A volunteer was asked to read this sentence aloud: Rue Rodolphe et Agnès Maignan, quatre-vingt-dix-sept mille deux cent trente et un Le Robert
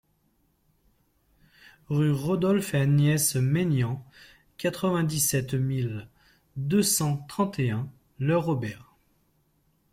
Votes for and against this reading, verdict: 2, 0, accepted